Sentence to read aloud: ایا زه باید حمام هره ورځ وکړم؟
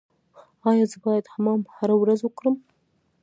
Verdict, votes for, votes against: rejected, 0, 2